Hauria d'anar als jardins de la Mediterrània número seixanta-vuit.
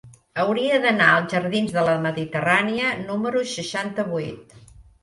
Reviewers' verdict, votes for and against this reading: accepted, 3, 0